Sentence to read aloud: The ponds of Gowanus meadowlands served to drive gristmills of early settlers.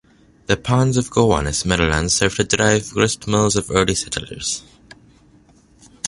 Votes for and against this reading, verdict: 1, 2, rejected